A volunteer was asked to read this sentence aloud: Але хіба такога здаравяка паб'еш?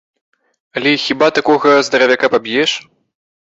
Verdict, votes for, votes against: accepted, 2, 0